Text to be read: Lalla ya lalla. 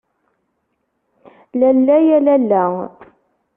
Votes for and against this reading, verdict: 2, 0, accepted